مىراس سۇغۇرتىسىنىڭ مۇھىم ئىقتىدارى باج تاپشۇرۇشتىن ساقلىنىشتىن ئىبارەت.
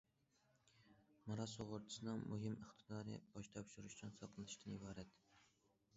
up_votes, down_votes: 1, 2